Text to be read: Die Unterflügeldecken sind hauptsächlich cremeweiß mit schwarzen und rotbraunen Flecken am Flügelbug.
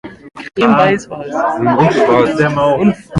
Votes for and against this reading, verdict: 0, 2, rejected